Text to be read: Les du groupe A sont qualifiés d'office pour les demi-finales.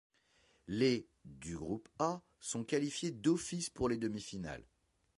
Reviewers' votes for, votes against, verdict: 2, 0, accepted